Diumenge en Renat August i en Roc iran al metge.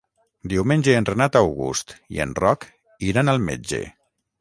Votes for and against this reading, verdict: 3, 3, rejected